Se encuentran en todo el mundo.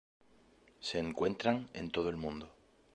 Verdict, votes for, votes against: accepted, 2, 0